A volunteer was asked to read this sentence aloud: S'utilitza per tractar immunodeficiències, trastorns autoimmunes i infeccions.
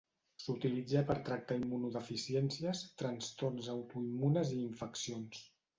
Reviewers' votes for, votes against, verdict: 1, 2, rejected